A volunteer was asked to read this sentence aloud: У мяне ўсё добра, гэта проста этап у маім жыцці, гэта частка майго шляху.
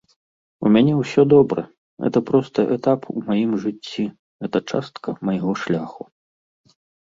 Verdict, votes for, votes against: accepted, 2, 0